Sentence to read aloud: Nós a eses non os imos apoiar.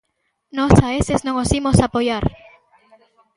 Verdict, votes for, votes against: rejected, 1, 2